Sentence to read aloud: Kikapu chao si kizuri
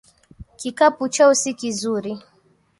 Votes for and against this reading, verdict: 1, 2, rejected